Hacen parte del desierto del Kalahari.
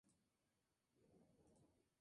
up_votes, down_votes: 0, 2